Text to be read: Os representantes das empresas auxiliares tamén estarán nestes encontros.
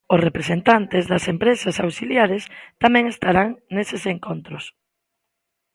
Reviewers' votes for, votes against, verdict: 1, 2, rejected